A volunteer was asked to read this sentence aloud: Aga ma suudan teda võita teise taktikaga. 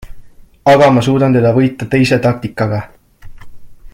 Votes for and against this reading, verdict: 2, 0, accepted